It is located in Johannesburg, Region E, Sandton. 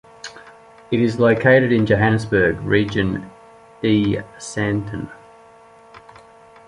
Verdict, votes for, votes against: accepted, 2, 0